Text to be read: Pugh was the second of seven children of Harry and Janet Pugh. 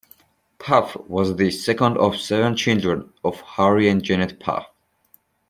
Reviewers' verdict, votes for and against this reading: rejected, 1, 2